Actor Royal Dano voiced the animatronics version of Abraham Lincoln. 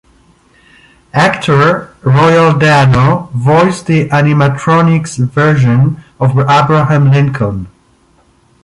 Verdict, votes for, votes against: rejected, 1, 2